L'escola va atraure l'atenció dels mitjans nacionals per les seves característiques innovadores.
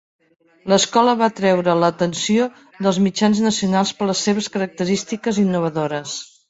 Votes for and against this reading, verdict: 1, 2, rejected